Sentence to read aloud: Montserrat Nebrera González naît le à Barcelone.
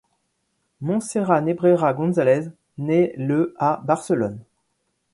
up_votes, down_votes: 2, 0